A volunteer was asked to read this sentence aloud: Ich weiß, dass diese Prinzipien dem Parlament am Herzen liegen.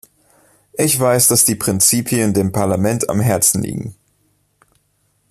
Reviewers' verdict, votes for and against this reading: rejected, 0, 2